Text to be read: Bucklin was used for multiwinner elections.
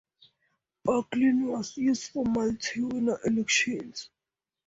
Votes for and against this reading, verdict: 2, 0, accepted